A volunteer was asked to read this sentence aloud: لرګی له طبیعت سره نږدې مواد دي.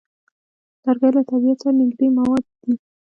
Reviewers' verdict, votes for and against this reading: accepted, 2, 1